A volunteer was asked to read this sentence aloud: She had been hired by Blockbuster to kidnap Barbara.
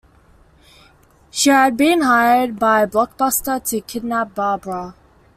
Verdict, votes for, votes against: accepted, 2, 0